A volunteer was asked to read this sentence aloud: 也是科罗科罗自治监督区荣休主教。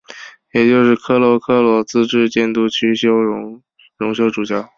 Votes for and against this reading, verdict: 0, 3, rejected